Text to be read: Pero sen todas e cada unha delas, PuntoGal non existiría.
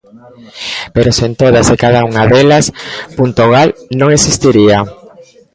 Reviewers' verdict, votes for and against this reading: rejected, 0, 2